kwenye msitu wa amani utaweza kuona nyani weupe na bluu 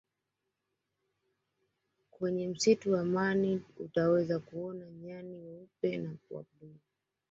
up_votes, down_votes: 1, 3